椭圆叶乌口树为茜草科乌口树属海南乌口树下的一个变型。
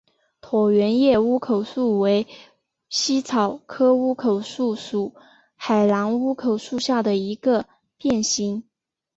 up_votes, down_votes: 3, 2